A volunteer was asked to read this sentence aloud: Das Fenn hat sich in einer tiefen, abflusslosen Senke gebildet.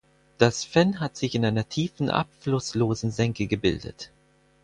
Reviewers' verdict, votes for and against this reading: accepted, 4, 0